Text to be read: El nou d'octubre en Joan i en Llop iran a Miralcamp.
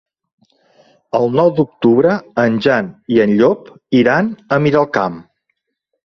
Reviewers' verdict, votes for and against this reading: rejected, 0, 3